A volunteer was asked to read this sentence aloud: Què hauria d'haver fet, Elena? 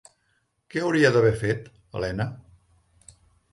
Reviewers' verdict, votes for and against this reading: accepted, 3, 0